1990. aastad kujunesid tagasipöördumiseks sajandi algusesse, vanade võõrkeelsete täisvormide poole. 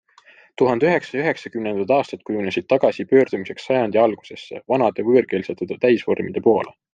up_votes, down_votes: 0, 2